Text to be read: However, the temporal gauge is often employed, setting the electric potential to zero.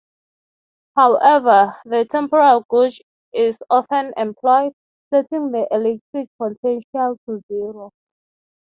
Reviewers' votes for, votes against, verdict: 3, 0, accepted